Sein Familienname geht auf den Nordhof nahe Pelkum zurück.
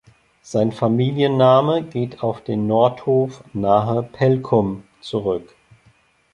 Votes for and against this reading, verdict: 2, 0, accepted